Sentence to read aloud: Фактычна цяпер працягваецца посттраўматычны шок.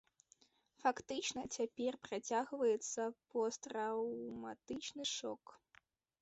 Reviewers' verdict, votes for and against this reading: rejected, 1, 2